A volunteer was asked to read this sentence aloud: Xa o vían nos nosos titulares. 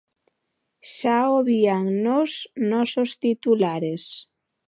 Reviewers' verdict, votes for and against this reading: accepted, 2, 1